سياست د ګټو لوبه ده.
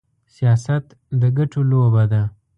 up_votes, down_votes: 2, 0